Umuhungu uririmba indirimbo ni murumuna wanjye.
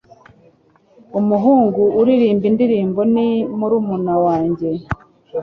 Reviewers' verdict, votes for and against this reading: accepted, 2, 1